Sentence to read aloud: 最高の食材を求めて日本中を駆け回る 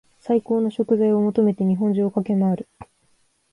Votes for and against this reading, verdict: 2, 1, accepted